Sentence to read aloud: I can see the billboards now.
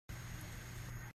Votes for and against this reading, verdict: 0, 3, rejected